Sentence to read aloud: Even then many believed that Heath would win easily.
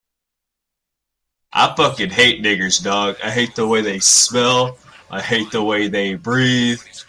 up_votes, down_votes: 0, 2